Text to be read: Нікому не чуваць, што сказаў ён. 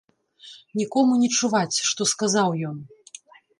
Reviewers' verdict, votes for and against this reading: accepted, 2, 0